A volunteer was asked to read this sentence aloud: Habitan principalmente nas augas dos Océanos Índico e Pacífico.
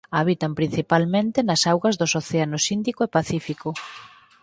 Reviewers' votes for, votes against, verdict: 4, 0, accepted